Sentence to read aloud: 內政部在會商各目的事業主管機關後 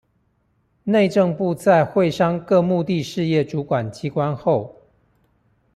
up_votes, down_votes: 3, 0